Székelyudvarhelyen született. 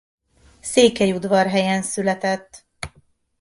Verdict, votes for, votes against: accepted, 2, 0